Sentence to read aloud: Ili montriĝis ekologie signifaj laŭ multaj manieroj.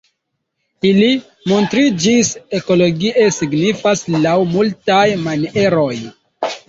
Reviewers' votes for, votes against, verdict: 0, 2, rejected